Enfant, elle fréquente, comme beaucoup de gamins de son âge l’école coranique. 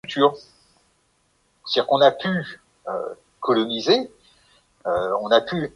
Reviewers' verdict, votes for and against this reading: rejected, 0, 2